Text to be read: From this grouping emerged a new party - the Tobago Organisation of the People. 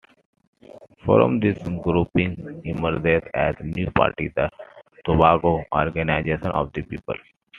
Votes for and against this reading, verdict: 0, 2, rejected